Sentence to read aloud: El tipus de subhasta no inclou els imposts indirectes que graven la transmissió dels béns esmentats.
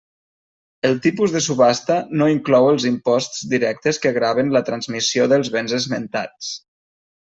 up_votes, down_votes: 1, 2